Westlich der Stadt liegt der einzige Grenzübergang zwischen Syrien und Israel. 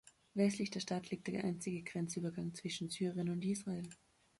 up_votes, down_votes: 2, 0